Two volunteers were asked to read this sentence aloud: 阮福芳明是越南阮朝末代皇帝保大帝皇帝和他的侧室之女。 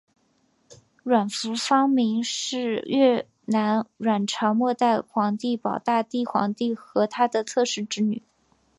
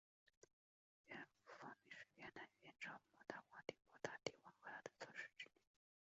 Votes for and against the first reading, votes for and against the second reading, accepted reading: 3, 0, 0, 2, first